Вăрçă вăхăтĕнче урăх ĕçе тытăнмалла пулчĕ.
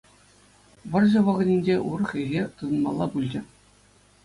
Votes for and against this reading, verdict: 2, 0, accepted